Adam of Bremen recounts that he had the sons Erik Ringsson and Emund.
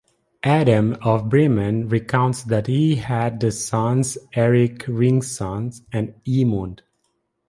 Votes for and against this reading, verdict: 0, 2, rejected